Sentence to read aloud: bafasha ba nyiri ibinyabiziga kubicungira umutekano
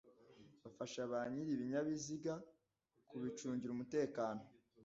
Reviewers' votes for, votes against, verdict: 2, 0, accepted